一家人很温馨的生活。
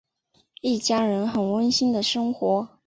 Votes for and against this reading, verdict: 4, 0, accepted